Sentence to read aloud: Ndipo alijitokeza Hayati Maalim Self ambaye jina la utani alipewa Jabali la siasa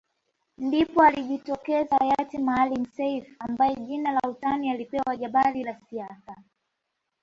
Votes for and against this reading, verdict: 2, 1, accepted